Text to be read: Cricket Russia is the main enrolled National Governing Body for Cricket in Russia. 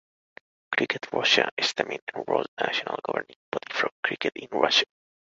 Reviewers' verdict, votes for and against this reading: accepted, 2, 0